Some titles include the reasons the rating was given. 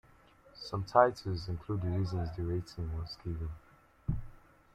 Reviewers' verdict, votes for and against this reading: accepted, 2, 1